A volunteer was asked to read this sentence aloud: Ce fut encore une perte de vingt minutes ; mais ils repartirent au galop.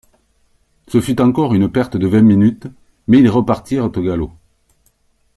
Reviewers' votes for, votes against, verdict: 2, 0, accepted